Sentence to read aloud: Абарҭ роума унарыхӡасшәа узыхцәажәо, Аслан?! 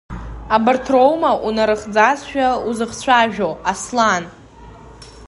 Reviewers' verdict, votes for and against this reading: rejected, 0, 2